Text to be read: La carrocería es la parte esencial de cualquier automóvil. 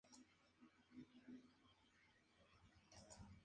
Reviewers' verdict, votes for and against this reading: rejected, 0, 2